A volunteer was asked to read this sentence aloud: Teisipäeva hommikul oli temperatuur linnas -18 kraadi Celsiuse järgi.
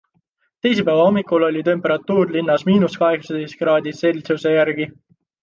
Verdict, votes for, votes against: rejected, 0, 2